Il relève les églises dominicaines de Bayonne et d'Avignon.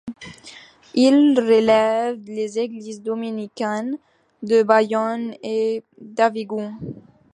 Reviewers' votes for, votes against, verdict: 0, 2, rejected